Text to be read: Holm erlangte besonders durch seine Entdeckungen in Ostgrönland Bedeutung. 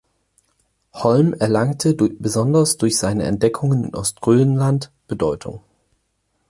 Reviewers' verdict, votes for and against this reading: rejected, 0, 4